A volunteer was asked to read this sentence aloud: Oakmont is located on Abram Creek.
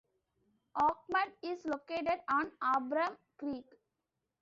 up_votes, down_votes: 2, 0